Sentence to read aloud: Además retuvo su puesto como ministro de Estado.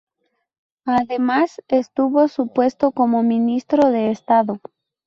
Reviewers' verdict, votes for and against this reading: rejected, 2, 2